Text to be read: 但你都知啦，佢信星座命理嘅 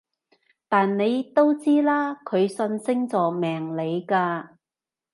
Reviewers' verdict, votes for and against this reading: rejected, 0, 2